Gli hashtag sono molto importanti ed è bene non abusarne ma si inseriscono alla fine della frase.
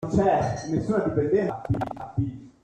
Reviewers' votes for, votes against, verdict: 0, 2, rejected